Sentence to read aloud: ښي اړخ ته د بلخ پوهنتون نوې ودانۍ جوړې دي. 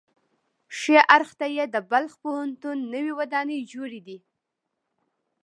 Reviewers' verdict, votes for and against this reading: accepted, 2, 0